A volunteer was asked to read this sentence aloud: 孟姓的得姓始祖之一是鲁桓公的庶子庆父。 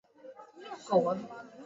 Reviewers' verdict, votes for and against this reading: rejected, 0, 2